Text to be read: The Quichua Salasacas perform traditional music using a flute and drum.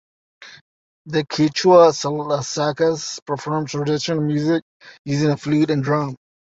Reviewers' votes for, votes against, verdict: 2, 0, accepted